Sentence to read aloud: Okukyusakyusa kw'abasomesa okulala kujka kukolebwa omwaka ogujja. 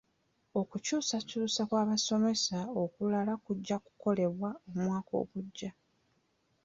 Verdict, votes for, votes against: rejected, 1, 2